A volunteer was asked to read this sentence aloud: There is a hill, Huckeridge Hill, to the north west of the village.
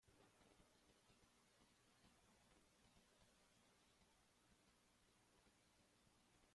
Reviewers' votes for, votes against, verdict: 1, 2, rejected